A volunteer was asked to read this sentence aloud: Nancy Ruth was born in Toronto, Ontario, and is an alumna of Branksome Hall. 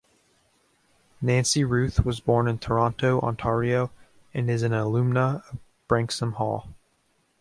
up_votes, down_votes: 0, 2